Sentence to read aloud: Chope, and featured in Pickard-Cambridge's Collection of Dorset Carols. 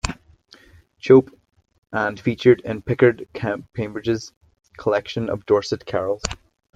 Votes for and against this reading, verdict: 2, 1, accepted